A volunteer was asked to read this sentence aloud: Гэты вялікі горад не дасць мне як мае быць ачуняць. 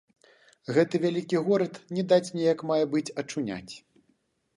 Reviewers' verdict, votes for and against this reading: rejected, 0, 2